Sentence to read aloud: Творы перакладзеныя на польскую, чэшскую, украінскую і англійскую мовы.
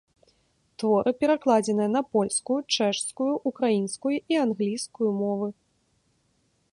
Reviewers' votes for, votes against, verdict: 0, 2, rejected